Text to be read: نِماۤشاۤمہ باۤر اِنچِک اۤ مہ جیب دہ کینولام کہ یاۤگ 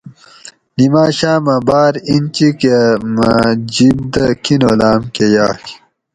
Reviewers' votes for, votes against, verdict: 2, 2, rejected